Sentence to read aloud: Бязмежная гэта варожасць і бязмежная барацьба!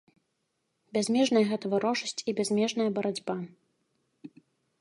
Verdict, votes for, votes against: accepted, 2, 0